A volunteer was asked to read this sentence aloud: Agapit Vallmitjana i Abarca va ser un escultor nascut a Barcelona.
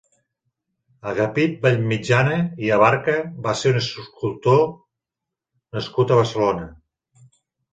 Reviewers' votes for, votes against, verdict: 0, 2, rejected